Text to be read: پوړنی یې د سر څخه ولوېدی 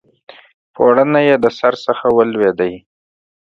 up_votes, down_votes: 2, 0